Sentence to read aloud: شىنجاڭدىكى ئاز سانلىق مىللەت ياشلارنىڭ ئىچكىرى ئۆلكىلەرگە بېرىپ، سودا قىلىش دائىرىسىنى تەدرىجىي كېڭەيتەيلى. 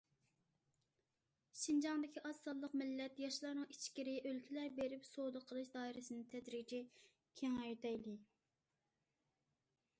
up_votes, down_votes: 2, 0